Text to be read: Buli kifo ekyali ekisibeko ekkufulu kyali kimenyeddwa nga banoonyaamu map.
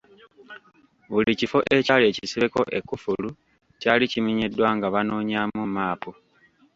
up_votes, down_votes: 0, 2